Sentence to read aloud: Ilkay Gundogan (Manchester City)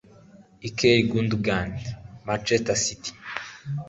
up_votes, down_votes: 0, 2